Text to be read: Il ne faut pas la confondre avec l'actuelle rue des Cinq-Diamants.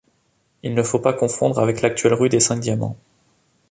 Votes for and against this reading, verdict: 0, 3, rejected